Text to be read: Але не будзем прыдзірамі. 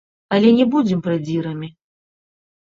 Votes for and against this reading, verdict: 1, 2, rejected